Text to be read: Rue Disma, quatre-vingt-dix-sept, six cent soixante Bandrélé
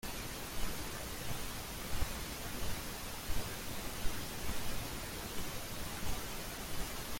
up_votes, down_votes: 0, 2